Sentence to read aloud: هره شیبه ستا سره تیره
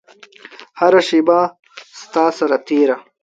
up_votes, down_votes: 2, 0